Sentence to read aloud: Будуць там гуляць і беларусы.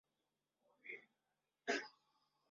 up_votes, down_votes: 0, 2